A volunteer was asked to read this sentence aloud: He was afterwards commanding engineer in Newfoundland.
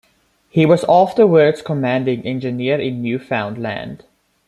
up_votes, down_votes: 0, 2